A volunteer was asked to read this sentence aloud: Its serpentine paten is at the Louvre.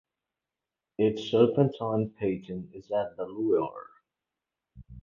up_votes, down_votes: 2, 6